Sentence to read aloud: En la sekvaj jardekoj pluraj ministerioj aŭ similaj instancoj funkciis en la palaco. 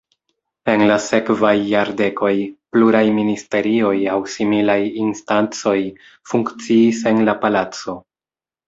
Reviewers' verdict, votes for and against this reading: accepted, 2, 0